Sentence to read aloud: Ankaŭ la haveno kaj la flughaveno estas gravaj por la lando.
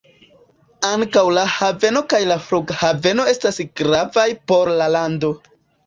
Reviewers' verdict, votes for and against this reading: accepted, 2, 0